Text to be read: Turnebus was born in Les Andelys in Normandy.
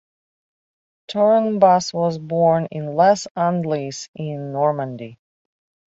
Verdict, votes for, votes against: accepted, 2, 0